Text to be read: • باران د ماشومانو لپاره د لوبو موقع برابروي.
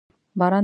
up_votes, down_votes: 0, 2